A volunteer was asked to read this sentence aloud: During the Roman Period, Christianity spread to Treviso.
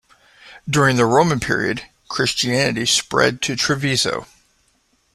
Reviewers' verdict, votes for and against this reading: accepted, 2, 0